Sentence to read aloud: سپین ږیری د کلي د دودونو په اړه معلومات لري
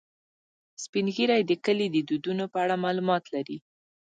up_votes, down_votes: 0, 2